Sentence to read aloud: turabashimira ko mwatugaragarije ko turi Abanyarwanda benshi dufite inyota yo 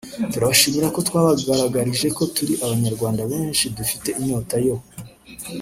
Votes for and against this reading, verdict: 0, 2, rejected